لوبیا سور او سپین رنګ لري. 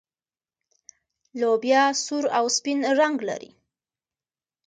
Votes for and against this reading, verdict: 2, 0, accepted